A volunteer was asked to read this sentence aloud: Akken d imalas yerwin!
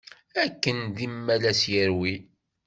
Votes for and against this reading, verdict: 2, 1, accepted